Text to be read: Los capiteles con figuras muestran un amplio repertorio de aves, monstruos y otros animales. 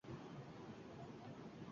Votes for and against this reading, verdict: 0, 2, rejected